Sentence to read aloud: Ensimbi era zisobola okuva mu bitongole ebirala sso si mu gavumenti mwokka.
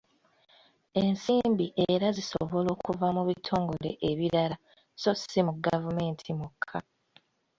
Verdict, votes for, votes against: rejected, 1, 2